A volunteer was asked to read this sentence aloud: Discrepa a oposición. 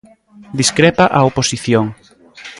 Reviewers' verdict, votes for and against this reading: accepted, 2, 0